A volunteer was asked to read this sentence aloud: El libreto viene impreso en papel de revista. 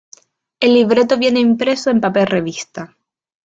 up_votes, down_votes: 1, 2